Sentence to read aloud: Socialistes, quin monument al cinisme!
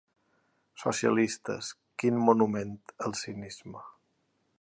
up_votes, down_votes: 2, 0